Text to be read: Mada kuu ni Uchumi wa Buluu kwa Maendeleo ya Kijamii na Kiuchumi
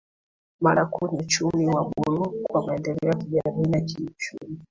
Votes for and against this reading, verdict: 2, 3, rejected